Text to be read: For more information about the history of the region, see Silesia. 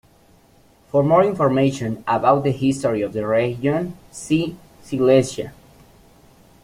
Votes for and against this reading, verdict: 2, 0, accepted